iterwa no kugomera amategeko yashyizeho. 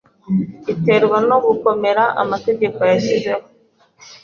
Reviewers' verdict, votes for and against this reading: accepted, 2, 1